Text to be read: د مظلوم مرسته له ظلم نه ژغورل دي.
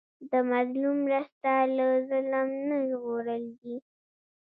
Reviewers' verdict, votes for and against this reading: accepted, 2, 0